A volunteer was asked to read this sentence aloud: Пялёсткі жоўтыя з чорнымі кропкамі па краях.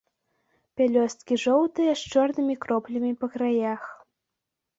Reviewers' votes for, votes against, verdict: 1, 2, rejected